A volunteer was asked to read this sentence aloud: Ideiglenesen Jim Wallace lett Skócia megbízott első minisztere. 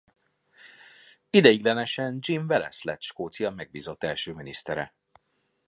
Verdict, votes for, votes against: accepted, 2, 0